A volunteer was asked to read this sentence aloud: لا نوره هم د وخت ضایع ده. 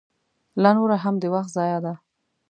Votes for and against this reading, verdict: 2, 0, accepted